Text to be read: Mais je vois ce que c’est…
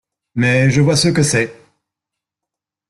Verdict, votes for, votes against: accepted, 2, 0